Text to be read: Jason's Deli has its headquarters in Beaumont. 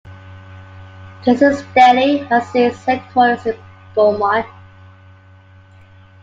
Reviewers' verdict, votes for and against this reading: accepted, 2, 0